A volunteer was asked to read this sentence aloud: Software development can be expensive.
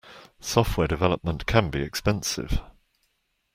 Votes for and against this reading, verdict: 2, 0, accepted